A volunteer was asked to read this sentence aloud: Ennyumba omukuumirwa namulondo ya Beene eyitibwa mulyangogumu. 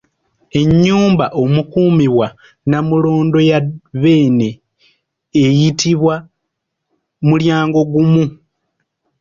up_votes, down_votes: 0, 2